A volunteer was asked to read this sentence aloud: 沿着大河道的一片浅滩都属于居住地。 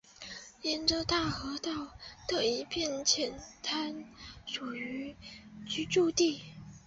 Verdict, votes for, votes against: rejected, 0, 2